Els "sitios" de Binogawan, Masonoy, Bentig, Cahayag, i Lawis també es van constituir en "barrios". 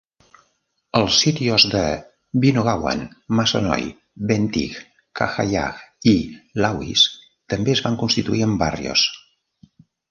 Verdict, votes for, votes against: accepted, 2, 0